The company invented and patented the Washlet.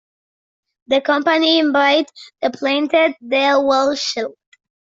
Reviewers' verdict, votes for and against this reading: rejected, 0, 2